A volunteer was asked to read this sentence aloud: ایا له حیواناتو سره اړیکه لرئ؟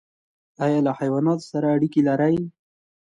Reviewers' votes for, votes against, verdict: 2, 0, accepted